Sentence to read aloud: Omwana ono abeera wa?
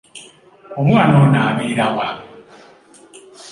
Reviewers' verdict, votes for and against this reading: accepted, 2, 0